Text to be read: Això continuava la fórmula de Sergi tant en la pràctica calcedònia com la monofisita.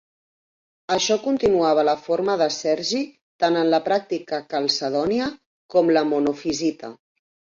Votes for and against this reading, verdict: 2, 4, rejected